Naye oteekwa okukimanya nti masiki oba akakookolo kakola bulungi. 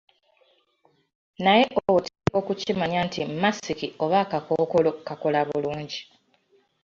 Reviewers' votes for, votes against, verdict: 2, 1, accepted